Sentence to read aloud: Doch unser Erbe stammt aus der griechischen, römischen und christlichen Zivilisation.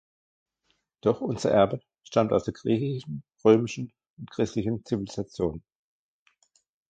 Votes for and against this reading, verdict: 1, 2, rejected